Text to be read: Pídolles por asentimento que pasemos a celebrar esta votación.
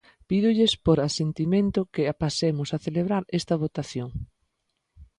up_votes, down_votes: 0, 2